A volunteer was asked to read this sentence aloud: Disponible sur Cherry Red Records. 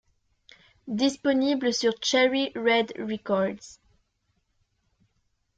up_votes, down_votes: 2, 0